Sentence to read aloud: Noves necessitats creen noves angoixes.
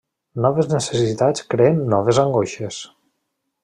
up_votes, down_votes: 0, 2